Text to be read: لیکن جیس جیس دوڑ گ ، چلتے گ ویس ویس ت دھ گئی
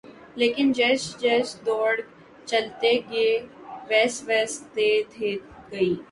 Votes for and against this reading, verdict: 3, 0, accepted